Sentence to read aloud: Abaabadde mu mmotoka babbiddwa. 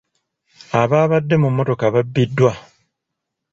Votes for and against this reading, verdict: 2, 0, accepted